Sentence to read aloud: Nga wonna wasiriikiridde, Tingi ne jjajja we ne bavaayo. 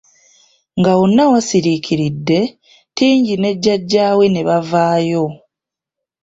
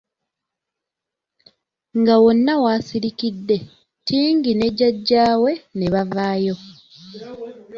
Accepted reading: second